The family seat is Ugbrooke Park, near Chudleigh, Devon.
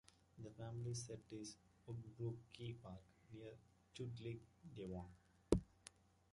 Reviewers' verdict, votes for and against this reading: rejected, 0, 2